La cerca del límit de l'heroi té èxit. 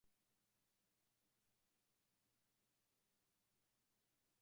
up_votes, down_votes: 1, 2